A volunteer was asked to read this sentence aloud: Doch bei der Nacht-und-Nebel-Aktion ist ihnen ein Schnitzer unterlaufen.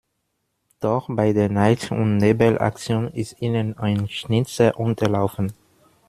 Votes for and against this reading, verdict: 1, 2, rejected